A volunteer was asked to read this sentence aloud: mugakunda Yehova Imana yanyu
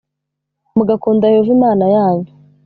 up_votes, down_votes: 2, 0